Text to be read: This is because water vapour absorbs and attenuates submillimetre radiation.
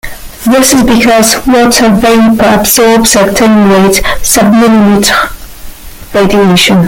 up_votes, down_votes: 1, 2